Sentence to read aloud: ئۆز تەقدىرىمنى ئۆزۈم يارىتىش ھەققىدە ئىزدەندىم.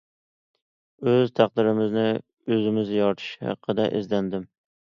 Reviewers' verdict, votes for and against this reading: rejected, 0, 2